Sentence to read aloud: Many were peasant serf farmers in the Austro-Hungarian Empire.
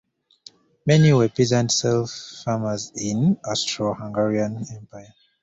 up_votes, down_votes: 0, 2